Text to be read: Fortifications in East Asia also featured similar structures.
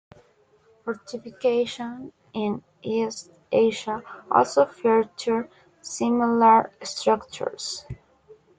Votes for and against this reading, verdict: 2, 1, accepted